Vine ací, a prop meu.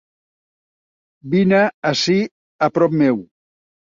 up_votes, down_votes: 2, 0